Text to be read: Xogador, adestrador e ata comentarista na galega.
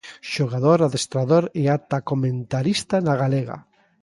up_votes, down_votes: 2, 0